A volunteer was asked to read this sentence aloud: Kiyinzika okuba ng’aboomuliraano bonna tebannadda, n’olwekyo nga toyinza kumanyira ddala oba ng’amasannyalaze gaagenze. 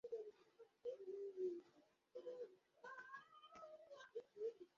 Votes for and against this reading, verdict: 0, 2, rejected